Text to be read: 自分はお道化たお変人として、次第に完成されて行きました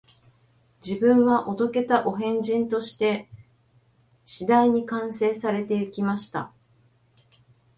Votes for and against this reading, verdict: 2, 0, accepted